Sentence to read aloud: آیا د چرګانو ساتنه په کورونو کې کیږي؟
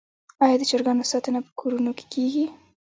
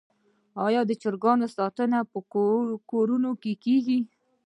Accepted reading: first